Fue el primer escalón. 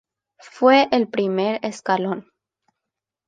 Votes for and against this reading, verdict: 2, 1, accepted